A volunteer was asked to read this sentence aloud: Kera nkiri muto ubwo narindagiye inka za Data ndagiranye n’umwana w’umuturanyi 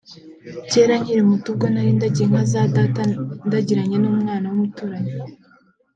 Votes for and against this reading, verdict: 2, 0, accepted